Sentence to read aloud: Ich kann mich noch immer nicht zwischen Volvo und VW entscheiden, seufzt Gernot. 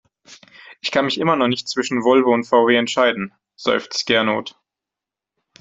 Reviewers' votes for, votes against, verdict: 2, 1, accepted